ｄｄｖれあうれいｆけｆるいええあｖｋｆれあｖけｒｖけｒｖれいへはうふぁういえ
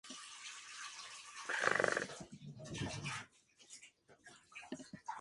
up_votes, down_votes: 0, 4